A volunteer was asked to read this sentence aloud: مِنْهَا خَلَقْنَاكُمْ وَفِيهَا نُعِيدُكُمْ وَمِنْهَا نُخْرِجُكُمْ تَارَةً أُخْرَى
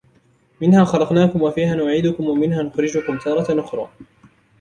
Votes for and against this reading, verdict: 0, 2, rejected